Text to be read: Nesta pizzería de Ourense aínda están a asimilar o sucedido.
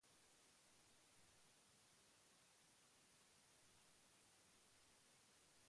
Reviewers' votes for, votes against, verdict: 0, 2, rejected